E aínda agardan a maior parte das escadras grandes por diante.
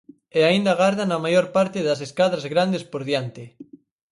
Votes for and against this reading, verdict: 4, 0, accepted